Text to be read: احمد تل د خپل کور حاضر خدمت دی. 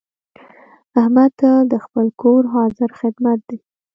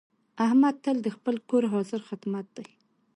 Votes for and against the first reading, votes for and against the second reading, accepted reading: 0, 2, 2, 1, second